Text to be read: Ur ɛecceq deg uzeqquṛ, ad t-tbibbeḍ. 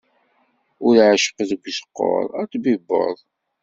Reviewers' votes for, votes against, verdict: 1, 2, rejected